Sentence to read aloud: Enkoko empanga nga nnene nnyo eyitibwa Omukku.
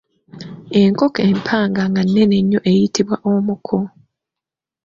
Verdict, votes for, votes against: rejected, 1, 2